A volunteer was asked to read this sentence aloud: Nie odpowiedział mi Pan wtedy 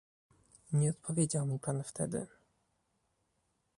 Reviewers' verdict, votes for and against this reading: rejected, 1, 2